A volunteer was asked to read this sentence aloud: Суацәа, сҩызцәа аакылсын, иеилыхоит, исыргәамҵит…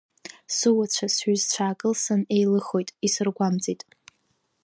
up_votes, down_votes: 1, 2